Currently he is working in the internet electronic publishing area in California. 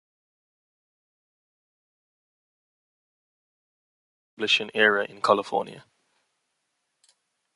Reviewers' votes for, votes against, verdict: 0, 2, rejected